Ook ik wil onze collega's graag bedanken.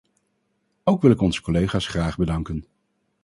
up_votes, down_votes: 2, 2